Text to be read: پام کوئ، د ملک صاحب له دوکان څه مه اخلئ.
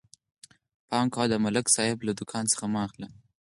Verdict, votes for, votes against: accepted, 4, 0